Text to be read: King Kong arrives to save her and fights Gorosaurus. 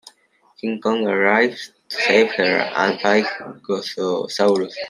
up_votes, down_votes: 0, 2